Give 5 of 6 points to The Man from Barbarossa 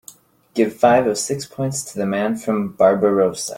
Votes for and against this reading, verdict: 0, 2, rejected